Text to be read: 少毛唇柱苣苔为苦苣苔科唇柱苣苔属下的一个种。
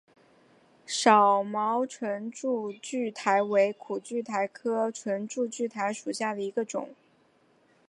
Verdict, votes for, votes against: accepted, 5, 0